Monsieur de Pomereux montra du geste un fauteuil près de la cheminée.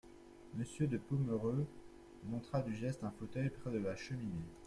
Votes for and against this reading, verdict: 2, 1, accepted